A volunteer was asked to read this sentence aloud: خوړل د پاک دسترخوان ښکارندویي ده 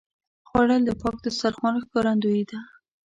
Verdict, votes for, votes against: accepted, 2, 0